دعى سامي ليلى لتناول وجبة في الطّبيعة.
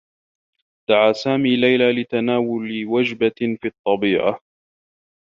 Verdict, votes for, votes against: rejected, 2, 3